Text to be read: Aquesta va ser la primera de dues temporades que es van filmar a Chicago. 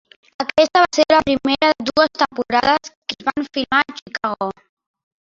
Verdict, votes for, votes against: rejected, 0, 2